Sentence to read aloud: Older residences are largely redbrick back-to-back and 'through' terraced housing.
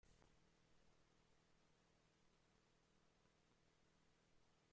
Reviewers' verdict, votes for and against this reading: rejected, 0, 2